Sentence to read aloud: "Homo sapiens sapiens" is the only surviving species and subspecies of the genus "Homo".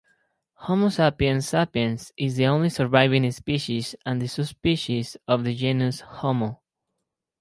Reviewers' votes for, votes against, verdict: 4, 0, accepted